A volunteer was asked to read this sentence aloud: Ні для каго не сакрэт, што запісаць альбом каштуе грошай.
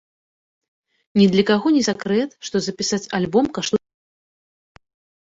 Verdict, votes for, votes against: rejected, 0, 2